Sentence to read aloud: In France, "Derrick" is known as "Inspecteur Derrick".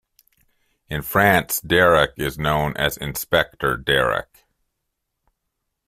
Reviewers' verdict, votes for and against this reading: accepted, 2, 1